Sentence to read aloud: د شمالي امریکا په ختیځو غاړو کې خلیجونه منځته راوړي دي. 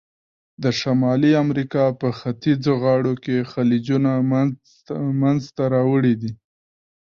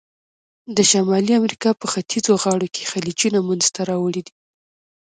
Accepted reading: first